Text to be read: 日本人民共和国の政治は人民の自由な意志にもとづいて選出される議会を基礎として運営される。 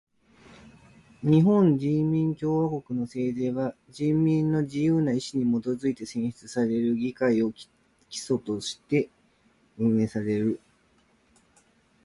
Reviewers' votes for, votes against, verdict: 1, 2, rejected